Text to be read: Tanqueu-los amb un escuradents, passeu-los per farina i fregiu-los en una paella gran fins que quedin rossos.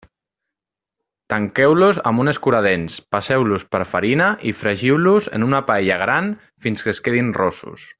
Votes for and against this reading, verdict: 1, 2, rejected